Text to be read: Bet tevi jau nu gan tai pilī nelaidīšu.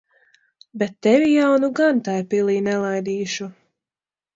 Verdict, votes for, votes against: rejected, 1, 2